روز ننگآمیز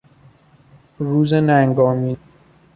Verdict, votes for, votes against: rejected, 1, 2